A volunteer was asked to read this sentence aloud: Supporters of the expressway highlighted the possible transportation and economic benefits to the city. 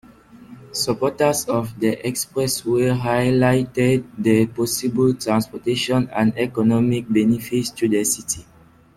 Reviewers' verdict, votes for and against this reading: accepted, 2, 0